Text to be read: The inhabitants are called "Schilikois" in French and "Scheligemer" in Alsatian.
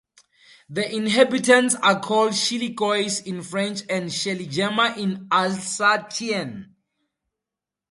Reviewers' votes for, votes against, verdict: 2, 0, accepted